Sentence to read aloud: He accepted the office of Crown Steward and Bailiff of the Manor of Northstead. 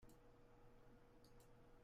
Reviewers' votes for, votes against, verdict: 0, 2, rejected